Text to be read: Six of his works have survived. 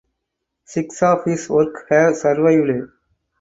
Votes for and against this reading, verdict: 2, 4, rejected